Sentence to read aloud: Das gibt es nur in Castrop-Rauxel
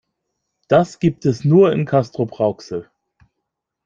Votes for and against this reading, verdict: 1, 2, rejected